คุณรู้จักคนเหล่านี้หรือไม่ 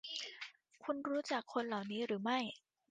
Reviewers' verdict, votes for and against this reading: accepted, 2, 0